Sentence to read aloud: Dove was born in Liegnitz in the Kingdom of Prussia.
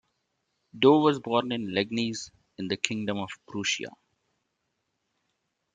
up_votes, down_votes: 0, 2